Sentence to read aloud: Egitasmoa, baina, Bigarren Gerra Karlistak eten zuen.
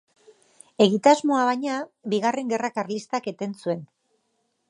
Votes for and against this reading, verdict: 2, 0, accepted